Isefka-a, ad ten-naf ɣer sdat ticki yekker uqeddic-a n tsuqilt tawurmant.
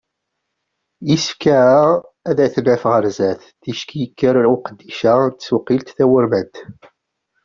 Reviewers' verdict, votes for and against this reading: rejected, 0, 2